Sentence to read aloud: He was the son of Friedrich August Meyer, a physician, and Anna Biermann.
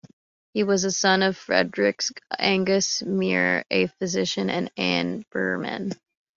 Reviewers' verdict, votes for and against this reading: rejected, 0, 2